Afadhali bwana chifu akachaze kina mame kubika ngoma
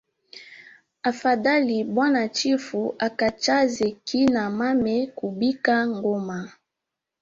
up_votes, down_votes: 1, 2